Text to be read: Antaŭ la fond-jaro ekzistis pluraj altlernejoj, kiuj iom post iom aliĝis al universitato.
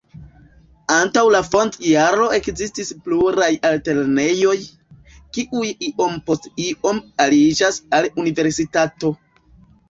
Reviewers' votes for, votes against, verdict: 1, 2, rejected